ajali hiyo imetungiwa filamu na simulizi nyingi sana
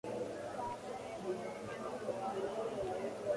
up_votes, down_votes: 0, 2